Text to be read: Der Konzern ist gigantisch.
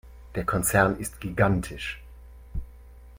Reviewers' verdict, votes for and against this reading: accepted, 3, 0